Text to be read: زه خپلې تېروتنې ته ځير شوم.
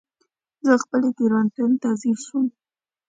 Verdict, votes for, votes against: accepted, 2, 0